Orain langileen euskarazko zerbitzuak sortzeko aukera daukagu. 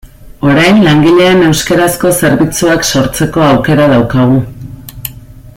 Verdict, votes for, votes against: accepted, 2, 0